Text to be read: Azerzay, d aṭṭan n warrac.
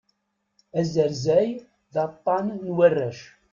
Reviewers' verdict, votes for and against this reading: accepted, 2, 0